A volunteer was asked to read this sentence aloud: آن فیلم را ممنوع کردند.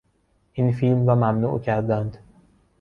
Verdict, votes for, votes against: rejected, 0, 2